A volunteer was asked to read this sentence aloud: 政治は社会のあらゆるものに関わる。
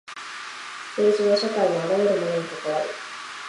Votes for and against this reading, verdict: 2, 0, accepted